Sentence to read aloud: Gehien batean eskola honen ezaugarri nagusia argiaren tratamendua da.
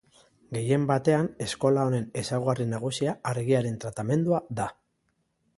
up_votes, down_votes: 2, 0